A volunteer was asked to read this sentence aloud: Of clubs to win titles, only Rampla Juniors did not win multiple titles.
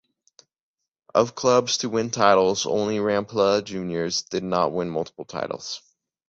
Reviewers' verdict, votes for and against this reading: accepted, 2, 0